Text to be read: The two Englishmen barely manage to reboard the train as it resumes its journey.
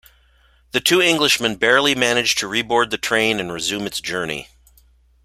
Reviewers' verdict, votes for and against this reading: rejected, 1, 2